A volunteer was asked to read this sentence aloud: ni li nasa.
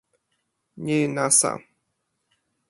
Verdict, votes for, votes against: rejected, 1, 2